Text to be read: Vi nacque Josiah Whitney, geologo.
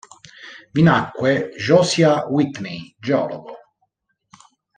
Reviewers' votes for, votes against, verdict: 1, 2, rejected